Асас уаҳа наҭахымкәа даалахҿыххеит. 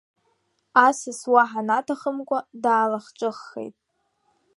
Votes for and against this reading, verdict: 0, 2, rejected